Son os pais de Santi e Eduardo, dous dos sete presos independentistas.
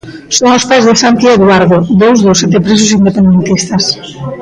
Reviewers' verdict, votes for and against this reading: accepted, 2, 0